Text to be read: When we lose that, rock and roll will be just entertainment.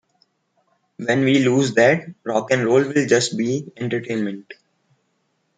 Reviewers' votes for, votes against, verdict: 1, 2, rejected